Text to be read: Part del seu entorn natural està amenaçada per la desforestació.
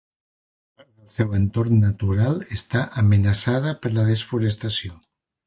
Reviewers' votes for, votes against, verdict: 0, 2, rejected